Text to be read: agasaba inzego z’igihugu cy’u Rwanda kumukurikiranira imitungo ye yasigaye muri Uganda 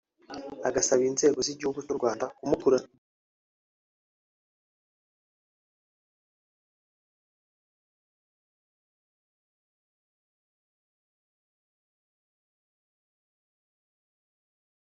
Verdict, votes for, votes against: rejected, 0, 2